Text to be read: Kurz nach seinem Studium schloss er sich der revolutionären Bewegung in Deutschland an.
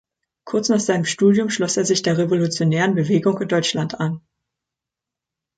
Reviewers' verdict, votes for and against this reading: accepted, 2, 0